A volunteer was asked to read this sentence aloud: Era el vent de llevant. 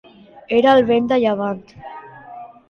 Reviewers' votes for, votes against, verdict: 2, 0, accepted